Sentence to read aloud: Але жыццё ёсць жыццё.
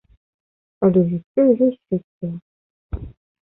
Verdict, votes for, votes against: rejected, 1, 2